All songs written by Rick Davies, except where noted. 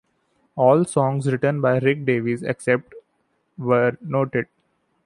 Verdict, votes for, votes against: accepted, 2, 0